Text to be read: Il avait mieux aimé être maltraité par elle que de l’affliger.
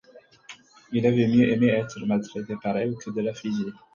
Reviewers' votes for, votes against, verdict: 4, 0, accepted